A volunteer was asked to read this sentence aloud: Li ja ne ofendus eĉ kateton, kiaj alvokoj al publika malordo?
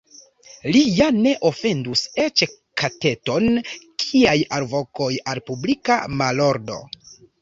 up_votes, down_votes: 1, 2